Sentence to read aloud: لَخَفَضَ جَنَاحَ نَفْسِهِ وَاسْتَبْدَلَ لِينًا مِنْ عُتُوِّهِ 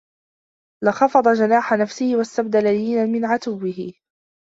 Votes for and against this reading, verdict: 1, 2, rejected